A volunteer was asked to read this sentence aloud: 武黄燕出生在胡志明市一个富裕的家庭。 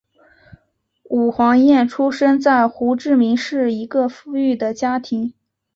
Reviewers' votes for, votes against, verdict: 6, 0, accepted